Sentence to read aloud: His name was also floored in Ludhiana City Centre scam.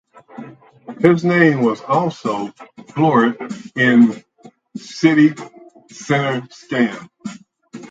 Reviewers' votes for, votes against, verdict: 4, 0, accepted